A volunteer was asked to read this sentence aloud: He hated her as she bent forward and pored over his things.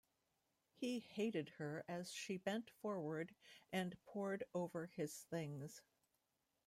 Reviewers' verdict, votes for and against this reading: accepted, 2, 0